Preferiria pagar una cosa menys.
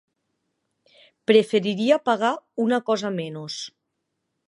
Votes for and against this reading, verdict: 1, 2, rejected